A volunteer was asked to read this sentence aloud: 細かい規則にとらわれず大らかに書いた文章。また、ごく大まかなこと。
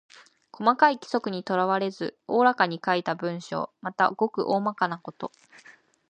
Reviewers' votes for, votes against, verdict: 2, 0, accepted